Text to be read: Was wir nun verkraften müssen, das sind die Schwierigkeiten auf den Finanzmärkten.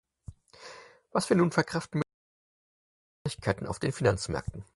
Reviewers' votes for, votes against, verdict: 0, 4, rejected